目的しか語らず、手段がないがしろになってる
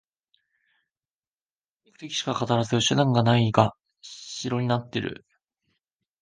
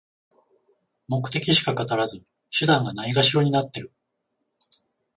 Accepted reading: second